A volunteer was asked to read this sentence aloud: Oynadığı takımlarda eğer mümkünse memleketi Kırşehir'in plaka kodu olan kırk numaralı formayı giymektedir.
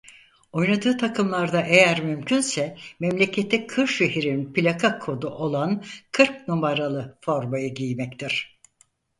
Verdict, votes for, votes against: rejected, 0, 4